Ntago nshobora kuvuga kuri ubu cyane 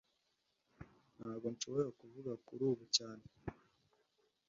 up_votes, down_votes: 2, 0